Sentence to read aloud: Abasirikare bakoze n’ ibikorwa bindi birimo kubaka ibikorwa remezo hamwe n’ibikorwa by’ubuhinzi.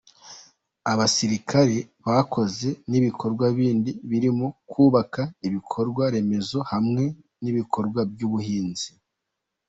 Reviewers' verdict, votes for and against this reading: accepted, 3, 0